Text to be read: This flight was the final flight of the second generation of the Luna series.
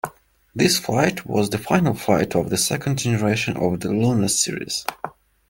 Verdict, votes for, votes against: accepted, 2, 0